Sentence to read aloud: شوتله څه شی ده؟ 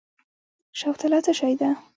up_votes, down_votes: 2, 0